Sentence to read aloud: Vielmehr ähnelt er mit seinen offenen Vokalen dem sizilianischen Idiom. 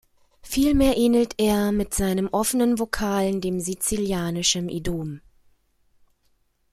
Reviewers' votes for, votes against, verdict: 1, 2, rejected